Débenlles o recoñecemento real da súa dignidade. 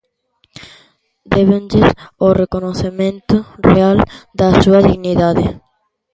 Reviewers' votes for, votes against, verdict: 0, 2, rejected